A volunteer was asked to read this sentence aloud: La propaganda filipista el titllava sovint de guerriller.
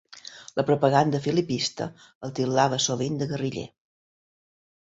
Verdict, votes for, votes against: accepted, 2, 0